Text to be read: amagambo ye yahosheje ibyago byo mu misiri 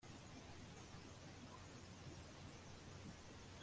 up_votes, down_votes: 1, 2